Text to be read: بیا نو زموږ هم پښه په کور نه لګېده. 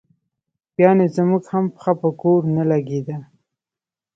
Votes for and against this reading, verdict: 2, 0, accepted